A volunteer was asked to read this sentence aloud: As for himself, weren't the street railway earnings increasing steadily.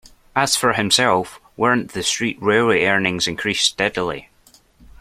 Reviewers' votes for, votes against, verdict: 1, 2, rejected